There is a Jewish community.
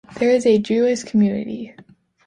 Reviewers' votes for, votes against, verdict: 2, 0, accepted